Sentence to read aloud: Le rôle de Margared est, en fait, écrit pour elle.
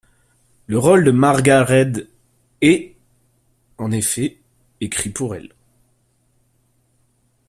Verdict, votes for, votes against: rejected, 0, 2